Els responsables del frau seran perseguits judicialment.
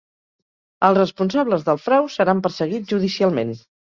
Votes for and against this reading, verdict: 2, 0, accepted